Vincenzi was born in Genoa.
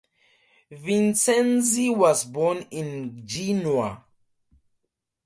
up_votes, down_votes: 0, 2